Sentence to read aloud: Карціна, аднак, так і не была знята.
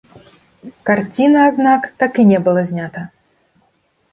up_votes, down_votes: 0, 2